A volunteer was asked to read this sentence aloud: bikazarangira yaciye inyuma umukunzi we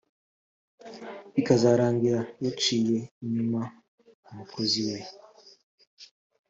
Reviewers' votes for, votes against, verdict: 2, 3, rejected